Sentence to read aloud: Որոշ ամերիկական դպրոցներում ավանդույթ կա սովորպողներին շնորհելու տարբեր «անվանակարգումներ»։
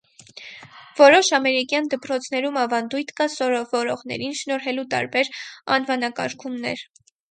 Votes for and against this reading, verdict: 0, 4, rejected